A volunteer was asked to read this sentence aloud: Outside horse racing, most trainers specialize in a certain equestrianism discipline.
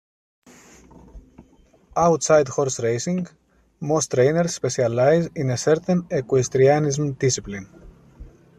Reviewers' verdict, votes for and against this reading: accepted, 2, 0